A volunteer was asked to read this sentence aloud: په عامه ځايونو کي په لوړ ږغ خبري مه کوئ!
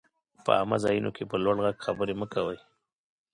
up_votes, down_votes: 2, 0